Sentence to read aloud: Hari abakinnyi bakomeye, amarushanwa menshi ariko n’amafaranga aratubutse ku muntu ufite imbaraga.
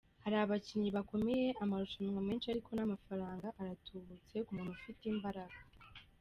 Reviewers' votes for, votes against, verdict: 0, 2, rejected